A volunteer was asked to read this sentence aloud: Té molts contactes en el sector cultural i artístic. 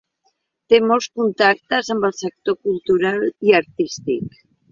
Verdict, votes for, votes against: accepted, 2, 0